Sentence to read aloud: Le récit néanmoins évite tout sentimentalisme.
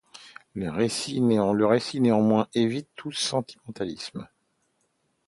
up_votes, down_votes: 0, 2